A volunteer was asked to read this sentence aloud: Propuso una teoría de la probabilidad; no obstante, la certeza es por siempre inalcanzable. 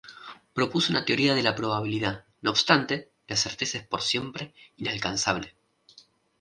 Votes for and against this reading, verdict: 2, 0, accepted